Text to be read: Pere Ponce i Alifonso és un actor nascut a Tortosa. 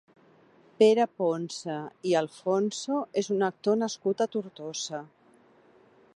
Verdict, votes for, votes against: rejected, 1, 2